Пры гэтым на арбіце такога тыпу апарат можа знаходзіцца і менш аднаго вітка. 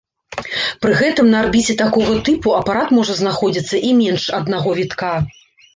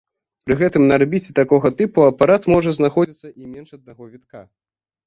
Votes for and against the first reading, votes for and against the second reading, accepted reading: 2, 0, 1, 2, first